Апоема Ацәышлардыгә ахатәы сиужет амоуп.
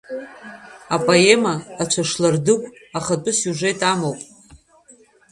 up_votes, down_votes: 1, 2